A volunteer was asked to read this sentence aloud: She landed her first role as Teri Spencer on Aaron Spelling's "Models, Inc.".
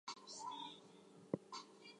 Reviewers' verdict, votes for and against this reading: rejected, 0, 4